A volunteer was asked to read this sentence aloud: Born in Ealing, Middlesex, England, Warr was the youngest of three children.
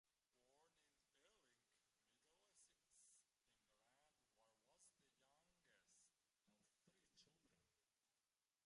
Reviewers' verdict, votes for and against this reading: rejected, 0, 2